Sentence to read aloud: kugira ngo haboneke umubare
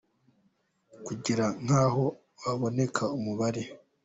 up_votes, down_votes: 0, 2